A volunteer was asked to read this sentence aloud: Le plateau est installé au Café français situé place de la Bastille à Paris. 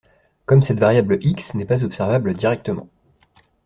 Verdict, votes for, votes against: rejected, 0, 2